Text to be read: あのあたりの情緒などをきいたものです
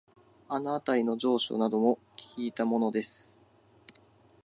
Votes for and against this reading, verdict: 2, 0, accepted